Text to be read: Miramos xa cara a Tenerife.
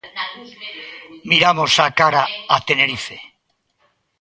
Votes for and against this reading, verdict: 1, 3, rejected